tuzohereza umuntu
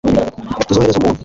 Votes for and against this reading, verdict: 2, 1, accepted